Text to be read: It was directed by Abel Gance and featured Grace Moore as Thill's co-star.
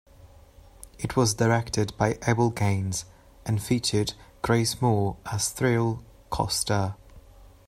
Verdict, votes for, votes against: rejected, 0, 2